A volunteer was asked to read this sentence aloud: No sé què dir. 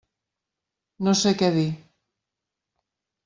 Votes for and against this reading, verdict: 3, 0, accepted